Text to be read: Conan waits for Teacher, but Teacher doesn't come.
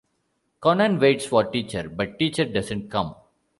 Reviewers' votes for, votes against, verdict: 2, 1, accepted